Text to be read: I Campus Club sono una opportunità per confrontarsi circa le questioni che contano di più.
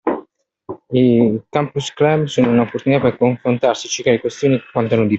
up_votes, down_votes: 0, 2